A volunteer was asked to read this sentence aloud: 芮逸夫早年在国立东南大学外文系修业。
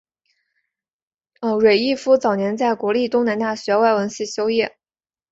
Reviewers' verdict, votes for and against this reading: accepted, 3, 0